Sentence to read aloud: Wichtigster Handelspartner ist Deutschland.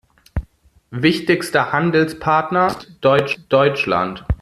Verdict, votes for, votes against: rejected, 0, 2